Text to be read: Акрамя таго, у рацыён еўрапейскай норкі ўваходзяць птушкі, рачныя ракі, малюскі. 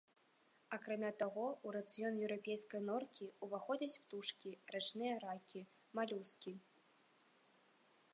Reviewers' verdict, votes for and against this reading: accepted, 2, 0